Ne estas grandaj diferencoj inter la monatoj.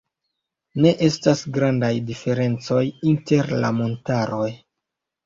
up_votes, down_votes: 2, 1